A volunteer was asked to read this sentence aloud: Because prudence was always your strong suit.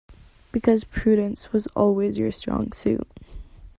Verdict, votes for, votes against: accepted, 2, 0